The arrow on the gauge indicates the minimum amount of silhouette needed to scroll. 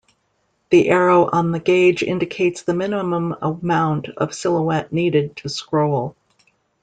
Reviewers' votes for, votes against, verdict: 1, 2, rejected